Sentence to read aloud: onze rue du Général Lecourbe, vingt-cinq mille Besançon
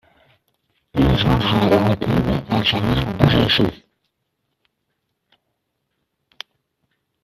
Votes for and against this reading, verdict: 0, 2, rejected